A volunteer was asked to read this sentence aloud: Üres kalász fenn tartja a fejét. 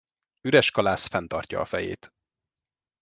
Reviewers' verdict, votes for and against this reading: accepted, 2, 0